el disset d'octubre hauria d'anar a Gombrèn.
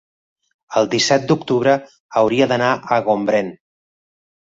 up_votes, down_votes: 3, 0